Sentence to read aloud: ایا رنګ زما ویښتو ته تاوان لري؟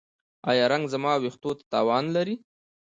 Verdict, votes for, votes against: rejected, 1, 2